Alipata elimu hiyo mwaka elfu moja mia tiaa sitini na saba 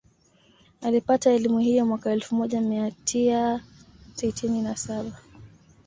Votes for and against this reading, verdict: 3, 1, accepted